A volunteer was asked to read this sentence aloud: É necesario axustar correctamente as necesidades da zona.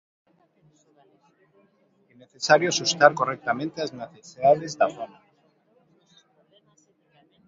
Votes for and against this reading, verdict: 1, 2, rejected